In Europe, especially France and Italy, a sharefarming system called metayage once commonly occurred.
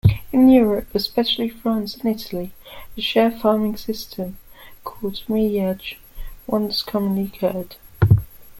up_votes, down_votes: 1, 2